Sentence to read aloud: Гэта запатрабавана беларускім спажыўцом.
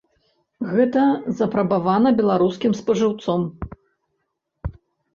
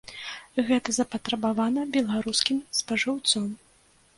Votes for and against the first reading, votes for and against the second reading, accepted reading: 0, 2, 2, 0, second